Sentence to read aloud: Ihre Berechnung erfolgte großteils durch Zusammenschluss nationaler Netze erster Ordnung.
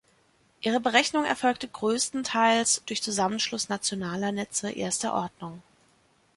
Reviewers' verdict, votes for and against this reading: rejected, 0, 2